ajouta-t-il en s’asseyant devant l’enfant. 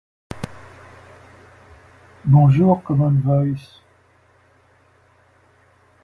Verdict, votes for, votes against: rejected, 0, 2